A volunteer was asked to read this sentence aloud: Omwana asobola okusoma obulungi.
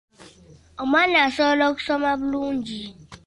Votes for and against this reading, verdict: 1, 2, rejected